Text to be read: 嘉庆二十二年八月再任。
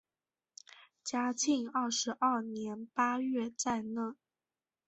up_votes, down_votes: 8, 3